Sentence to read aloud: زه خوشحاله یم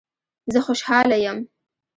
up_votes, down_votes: 3, 0